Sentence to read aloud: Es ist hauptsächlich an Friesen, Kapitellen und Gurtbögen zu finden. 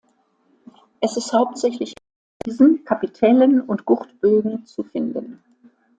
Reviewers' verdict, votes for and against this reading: accepted, 2, 1